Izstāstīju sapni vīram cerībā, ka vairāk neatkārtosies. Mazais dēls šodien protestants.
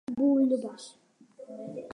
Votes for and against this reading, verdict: 0, 2, rejected